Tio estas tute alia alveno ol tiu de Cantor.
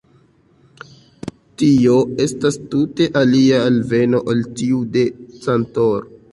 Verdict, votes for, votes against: rejected, 1, 2